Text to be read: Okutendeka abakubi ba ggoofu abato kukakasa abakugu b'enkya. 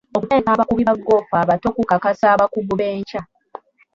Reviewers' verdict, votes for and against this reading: rejected, 1, 2